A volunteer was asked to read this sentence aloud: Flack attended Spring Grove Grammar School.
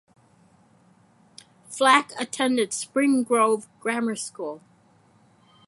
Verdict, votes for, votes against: accepted, 4, 2